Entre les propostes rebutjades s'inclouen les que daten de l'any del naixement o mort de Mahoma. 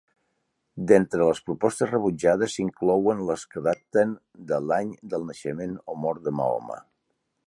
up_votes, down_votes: 0, 2